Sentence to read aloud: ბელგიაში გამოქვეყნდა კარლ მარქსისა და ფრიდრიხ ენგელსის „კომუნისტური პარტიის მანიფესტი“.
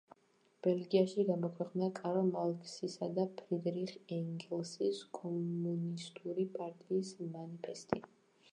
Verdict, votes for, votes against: rejected, 0, 2